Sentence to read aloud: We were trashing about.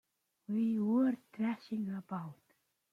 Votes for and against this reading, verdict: 2, 0, accepted